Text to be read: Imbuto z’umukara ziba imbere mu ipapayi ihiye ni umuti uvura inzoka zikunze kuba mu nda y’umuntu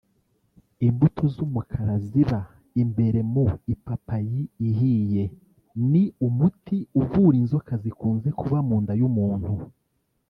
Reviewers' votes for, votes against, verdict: 1, 2, rejected